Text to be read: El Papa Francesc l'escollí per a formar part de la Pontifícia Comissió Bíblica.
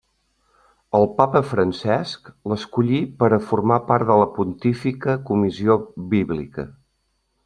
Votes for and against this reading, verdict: 0, 2, rejected